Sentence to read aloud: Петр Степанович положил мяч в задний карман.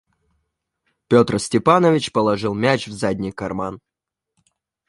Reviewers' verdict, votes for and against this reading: rejected, 1, 2